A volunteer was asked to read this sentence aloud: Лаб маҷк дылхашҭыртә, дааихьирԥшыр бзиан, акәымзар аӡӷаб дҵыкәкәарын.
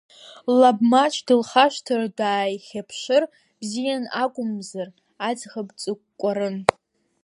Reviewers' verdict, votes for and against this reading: rejected, 0, 2